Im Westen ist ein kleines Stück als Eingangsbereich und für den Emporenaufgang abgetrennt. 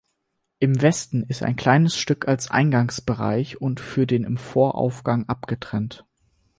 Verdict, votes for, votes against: rejected, 0, 4